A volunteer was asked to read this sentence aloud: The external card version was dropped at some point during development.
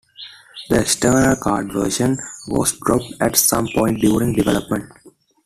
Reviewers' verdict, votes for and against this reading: accepted, 2, 0